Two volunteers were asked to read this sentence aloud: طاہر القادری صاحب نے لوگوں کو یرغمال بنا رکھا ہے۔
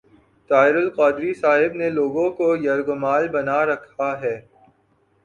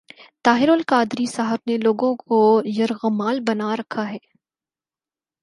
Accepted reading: second